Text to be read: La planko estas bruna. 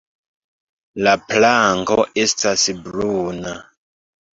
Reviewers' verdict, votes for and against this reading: accepted, 2, 0